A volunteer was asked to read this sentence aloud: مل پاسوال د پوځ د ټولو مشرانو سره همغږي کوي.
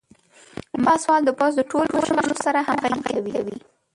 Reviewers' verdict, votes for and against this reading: rejected, 0, 2